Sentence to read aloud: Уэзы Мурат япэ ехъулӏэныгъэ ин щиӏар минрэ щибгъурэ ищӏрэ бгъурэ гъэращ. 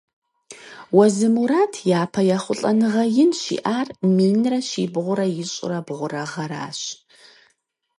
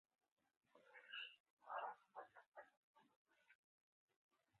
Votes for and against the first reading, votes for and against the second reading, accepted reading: 4, 0, 0, 4, first